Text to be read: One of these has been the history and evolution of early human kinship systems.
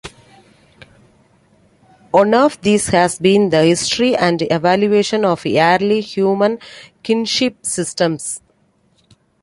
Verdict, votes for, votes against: rejected, 1, 2